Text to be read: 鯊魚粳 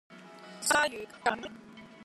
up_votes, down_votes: 1, 2